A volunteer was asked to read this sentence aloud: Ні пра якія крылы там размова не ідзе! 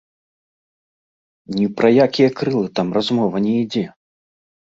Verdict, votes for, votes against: rejected, 1, 2